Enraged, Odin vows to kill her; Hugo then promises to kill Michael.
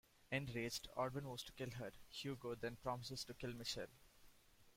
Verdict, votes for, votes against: rejected, 0, 2